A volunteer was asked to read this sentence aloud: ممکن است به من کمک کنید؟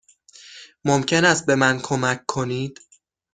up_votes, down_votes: 6, 0